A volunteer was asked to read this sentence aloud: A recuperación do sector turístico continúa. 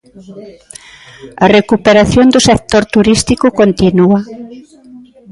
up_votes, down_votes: 1, 2